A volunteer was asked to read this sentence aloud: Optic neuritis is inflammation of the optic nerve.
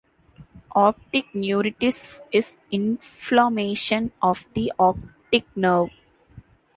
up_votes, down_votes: 1, 2